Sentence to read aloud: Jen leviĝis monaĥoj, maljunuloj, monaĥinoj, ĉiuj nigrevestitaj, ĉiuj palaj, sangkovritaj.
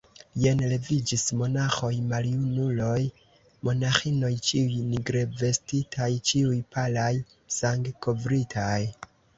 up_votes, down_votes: 2, 0